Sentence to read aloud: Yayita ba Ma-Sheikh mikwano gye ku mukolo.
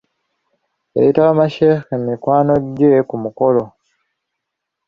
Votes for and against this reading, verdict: 4, 0, accepted